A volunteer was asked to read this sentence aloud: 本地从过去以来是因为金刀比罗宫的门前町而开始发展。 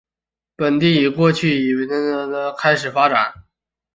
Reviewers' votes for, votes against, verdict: 0, 3, rejected